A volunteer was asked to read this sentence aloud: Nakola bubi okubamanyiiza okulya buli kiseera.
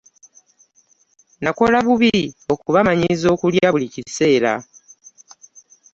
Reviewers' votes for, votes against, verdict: 2, 0, accepted